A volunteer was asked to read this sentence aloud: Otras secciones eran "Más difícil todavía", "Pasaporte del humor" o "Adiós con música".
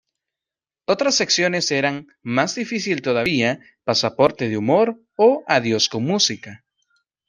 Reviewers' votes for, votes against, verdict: 2, 0, accepted